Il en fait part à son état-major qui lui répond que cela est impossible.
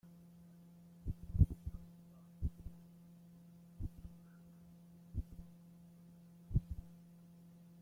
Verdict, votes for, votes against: rejected, 0, 2